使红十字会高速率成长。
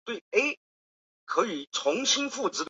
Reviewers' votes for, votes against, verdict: 0, 3, rejected